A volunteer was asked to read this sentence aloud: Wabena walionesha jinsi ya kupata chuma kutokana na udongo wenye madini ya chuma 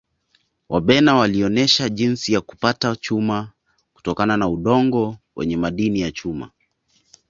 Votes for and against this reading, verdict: 2, 0, accepted